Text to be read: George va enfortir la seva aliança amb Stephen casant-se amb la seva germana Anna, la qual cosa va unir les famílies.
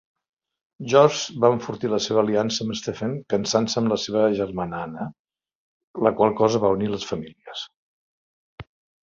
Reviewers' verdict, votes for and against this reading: rejected, 0, 2